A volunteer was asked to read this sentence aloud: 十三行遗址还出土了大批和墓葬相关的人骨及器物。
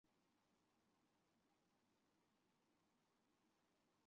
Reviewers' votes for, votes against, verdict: 3, 2, accepted